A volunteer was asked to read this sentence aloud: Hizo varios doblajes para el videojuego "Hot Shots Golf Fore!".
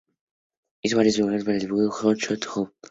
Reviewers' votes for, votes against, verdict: 0, 2, rejected